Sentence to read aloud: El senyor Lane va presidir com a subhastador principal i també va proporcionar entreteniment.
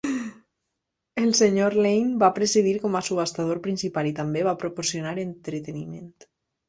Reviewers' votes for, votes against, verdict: 3, 0, accepted